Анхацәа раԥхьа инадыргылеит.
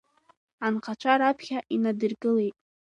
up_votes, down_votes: 2, 0